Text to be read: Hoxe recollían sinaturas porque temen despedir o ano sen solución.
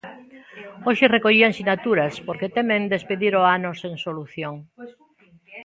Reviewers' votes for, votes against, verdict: 1, 2, rejected